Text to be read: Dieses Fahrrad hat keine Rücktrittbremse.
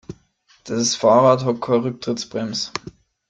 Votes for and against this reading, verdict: 1, 3, rejected